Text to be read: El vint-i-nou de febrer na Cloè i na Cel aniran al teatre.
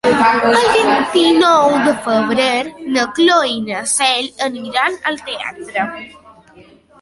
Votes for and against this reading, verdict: 2, 1, accepted